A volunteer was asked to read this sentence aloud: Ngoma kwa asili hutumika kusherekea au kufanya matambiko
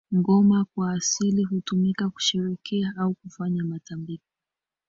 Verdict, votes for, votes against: rejected, 2, 2